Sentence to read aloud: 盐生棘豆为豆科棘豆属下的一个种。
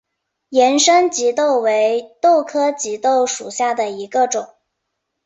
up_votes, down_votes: 2, 0